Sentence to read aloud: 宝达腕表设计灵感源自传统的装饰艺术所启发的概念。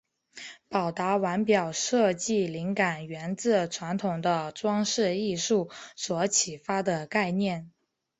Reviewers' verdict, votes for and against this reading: accepted, 3, 0